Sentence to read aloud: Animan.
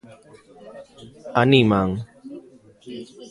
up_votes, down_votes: 3, 0